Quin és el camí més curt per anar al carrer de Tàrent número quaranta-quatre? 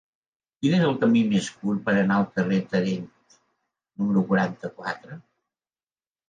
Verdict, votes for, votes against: rejected, 1, 2